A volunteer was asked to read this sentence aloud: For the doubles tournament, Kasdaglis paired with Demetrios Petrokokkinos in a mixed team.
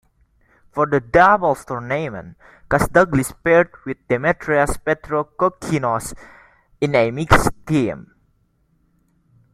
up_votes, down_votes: 2, 0